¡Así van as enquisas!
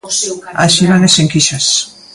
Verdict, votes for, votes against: rejected, 0, 2